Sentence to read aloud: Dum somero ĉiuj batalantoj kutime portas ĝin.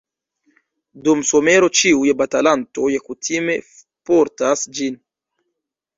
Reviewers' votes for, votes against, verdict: 2, 0, accepted